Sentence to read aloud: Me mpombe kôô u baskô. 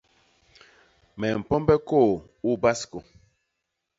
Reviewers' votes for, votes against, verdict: 2, 0, accepted